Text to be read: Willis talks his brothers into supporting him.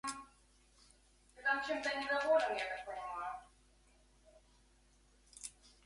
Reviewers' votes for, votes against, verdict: 0, 2, rejected